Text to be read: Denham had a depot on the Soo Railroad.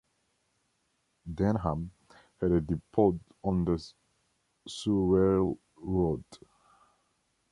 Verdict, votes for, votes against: rejected, 1, 2